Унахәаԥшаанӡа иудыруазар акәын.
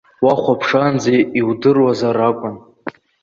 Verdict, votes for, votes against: rejected, 1, 2